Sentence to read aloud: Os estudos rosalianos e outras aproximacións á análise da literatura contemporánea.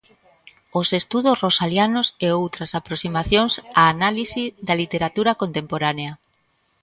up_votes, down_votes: 1, 2